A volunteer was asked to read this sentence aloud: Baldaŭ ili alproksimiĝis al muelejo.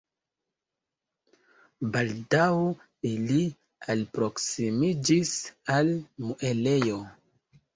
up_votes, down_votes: 0, 2